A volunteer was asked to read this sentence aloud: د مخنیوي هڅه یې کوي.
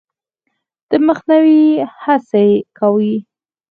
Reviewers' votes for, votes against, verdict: 0, 4, rejected